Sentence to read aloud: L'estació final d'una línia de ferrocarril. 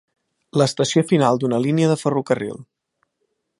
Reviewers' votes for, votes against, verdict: 3, 0, accepted